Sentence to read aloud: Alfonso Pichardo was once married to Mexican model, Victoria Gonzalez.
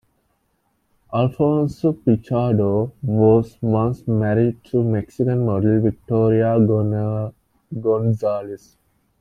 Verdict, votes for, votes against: rejected, 1, 2